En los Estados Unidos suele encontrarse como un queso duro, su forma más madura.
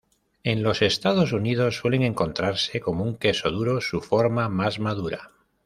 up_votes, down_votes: 1, 2